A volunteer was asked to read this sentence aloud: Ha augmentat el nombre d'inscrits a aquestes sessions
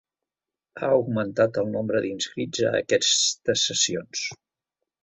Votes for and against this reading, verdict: 0, 2, rejected